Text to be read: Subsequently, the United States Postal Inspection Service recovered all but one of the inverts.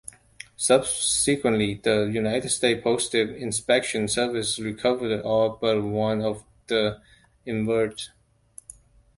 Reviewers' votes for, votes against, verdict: 2, 1, accepted